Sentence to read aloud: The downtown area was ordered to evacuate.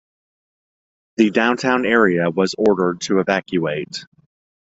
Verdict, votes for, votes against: accepted, 2, 0